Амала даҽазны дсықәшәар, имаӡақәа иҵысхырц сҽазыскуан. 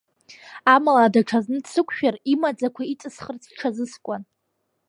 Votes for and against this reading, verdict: 2, 1, accepted